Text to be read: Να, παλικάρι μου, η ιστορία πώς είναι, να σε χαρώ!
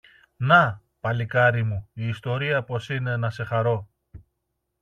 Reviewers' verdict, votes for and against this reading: accepted, 2, 0